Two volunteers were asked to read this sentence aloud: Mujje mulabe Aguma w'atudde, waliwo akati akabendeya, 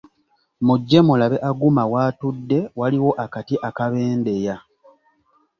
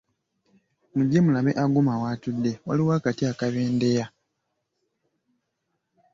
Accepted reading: first